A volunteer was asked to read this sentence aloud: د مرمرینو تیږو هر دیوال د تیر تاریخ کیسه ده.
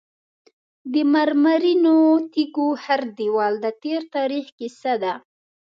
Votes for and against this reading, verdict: 2, 0, accepted